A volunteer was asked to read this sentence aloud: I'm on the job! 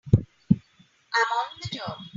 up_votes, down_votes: 2, 0